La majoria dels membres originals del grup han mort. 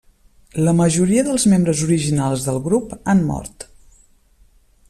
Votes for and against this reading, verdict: 3, 0, accepted